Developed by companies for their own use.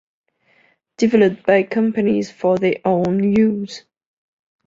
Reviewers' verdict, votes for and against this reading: rejected, 1, 2